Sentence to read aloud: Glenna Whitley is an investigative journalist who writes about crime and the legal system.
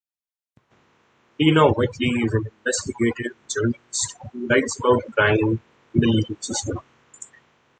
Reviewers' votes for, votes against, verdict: 0, 2, rejected